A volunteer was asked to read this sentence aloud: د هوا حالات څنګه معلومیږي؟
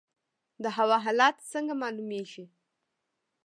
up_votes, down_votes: 1, 2